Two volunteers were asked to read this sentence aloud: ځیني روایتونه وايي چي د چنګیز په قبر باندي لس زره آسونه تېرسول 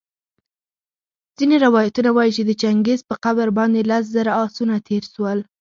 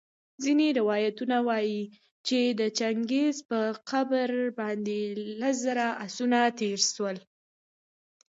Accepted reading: first